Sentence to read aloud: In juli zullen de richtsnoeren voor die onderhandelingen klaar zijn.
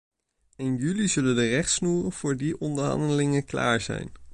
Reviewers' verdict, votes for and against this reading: rejected, 0, 2